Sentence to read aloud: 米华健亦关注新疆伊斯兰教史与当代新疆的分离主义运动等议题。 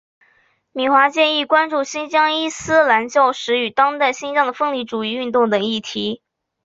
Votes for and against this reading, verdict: 2, 0, accepted